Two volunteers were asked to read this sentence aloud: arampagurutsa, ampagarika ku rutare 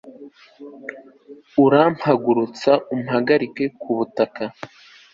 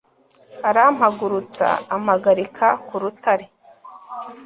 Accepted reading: second